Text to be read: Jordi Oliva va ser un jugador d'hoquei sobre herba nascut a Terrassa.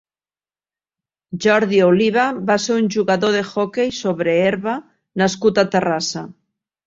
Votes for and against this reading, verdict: 1, 2, rejected